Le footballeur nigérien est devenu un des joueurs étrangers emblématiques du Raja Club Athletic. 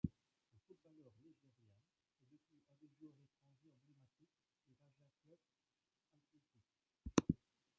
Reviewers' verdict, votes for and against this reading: rejected, 1, 2